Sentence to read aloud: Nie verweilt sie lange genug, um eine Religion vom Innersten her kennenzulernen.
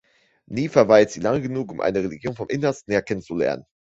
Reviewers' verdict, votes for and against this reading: accepted, 3, 2